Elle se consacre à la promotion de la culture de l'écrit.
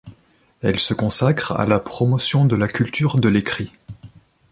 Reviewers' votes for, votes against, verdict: 2, 0, accepted